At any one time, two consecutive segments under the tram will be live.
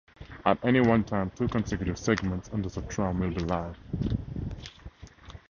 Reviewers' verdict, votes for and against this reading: rejected, 0, 2